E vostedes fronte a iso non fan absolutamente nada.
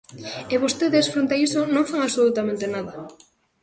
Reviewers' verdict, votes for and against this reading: accepted, 2, 0